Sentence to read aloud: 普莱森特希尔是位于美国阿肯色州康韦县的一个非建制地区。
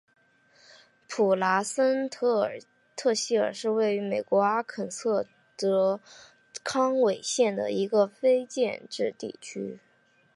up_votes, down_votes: 7, 1